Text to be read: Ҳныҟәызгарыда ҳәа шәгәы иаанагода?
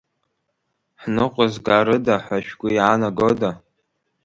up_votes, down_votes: 1, 2